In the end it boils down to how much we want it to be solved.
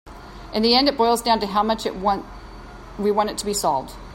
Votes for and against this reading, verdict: 0, 2, rejected